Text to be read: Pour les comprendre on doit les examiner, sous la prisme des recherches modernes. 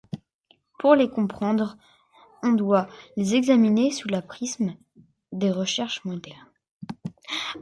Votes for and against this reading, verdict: 0, 2, rejected